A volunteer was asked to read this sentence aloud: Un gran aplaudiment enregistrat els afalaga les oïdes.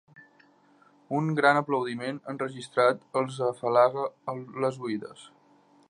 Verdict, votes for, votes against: rejected, 1, 2